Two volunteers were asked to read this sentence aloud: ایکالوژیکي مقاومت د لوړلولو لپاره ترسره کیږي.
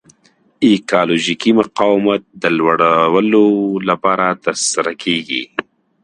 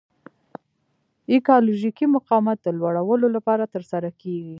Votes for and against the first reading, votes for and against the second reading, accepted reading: 2, 0, 1, 2, first